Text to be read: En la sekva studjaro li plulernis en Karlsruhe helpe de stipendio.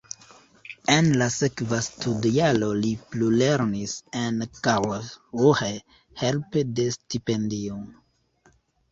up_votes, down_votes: 1, 2